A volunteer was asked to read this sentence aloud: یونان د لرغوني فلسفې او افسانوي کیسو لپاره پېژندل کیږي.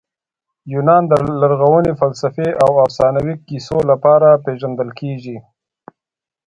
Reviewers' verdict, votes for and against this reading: rejected, 1, 2